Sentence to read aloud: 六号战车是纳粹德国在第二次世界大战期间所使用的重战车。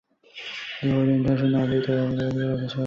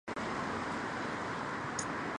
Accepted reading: first